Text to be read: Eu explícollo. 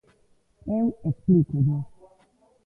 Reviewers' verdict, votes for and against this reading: rejected, 0, 2